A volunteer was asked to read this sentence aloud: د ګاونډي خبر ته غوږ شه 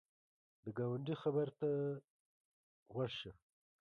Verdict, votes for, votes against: accepted, 2, 1